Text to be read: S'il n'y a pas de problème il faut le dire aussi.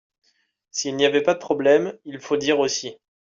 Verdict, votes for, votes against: rejected, 0, 2